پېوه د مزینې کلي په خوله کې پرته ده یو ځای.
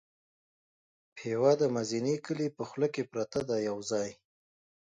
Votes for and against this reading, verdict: 2, 0, accepted